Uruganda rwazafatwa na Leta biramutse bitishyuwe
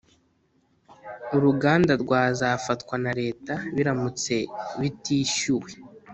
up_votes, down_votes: 2, 0